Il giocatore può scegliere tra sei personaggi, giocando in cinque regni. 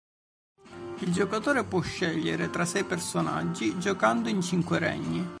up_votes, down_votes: 1, 2